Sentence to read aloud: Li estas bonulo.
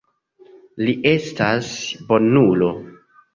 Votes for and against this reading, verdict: 2, 0, accepted